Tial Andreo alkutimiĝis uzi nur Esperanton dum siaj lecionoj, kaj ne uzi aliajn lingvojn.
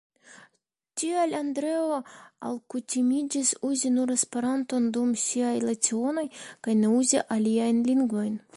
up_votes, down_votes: 0, 2